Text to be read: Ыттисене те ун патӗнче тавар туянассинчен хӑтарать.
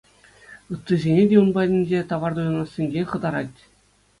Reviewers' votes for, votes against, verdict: 2, 0, accepted